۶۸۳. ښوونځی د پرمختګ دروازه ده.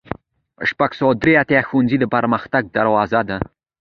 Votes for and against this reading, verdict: 0, 2, rejected